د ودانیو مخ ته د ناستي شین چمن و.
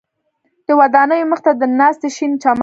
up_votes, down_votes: 0, 2